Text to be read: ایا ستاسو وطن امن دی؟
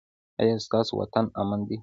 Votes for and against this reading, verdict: 2, 0, accepted